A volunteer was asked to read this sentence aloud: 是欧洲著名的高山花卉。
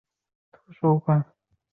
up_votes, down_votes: 2, 4